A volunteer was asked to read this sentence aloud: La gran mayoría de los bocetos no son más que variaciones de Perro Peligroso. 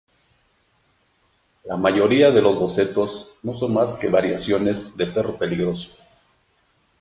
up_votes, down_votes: 1, 2